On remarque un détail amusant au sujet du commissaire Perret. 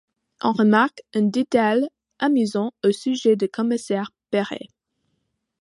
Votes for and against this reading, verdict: 2, 1, accepted